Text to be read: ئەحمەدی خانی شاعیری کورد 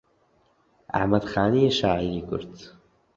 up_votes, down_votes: 0, 2